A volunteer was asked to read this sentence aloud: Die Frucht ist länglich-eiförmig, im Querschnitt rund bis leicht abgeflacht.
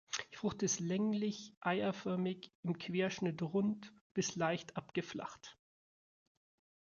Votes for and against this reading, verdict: 1, 2, rejected